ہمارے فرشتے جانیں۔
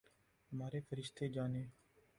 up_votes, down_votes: 2, 2